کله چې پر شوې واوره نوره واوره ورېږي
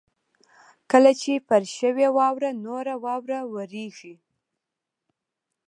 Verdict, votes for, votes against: accepted, 2, 0